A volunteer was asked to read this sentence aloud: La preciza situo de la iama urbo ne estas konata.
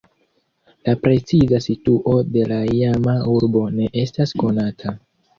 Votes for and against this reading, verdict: 1, 2, rejected